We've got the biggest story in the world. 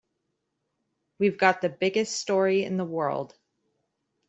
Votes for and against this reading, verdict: 2, 0, accepted